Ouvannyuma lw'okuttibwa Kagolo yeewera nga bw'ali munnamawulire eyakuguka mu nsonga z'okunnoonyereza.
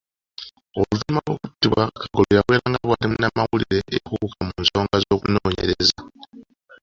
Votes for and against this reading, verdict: 0, 2, rejected